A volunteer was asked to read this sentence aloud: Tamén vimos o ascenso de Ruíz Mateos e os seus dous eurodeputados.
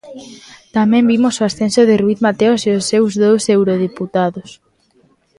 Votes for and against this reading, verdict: 2, 0, accepted